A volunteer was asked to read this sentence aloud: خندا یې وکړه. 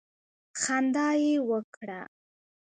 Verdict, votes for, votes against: rejected, 1, 2